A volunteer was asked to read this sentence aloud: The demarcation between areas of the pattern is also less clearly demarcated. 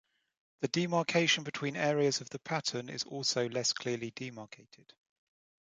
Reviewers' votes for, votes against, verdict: 2, 0, accepted